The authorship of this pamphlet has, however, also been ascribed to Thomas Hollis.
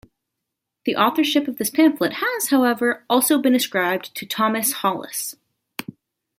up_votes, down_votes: 2, 0